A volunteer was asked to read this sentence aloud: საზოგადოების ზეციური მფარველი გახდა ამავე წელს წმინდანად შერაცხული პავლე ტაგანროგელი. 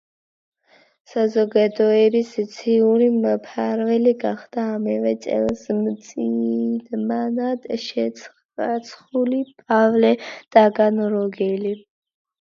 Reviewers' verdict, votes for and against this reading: rejected, 0, 2